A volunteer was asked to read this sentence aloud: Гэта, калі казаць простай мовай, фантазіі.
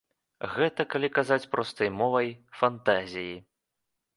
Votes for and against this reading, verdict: 2, 0, accepted